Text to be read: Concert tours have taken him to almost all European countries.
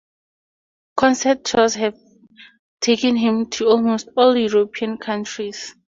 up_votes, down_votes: 4, 0